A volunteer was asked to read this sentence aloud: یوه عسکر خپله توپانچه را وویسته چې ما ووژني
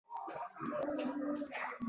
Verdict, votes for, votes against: rejected, 1, 2